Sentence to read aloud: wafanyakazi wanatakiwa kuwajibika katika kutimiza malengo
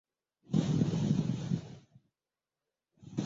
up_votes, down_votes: 0, 2